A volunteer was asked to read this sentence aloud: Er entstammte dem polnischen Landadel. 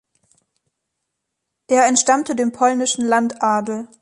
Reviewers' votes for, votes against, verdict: 2, 0, accepted